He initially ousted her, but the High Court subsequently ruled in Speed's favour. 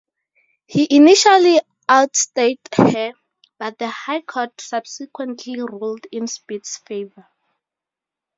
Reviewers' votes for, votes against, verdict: 0, 2, rejected